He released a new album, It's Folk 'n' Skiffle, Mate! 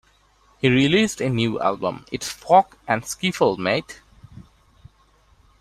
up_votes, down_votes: 2, 0